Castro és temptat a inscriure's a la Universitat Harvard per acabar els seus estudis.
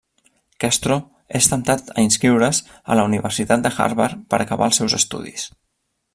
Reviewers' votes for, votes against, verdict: 1, 2, rejected